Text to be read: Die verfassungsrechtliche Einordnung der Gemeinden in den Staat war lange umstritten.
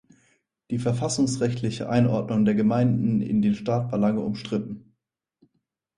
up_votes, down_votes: 4, 0